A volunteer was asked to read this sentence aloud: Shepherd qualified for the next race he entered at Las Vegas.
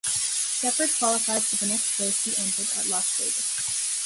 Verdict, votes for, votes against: accepted, 2, 0